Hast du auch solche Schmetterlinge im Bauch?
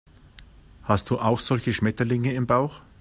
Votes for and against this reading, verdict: 2, 0, accepted